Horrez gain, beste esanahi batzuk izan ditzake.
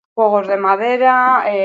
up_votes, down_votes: 0, 2